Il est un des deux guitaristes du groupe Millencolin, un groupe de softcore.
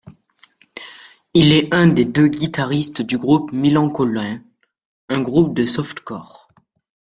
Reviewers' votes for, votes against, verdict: 1, 2, rejected